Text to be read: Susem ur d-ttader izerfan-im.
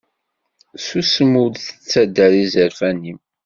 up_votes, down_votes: 2, 0